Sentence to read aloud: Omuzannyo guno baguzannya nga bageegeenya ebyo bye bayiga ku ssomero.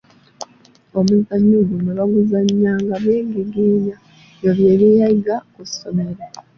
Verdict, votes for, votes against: rejected, 0, 2